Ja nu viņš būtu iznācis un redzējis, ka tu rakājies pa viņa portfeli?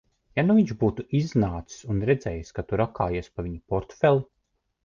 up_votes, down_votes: 2, 0